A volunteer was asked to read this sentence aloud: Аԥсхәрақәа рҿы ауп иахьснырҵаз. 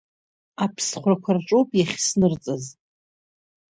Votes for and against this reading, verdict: 2, 0, accepted